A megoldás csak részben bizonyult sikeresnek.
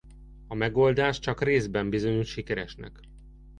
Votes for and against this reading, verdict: 2, 0, accepted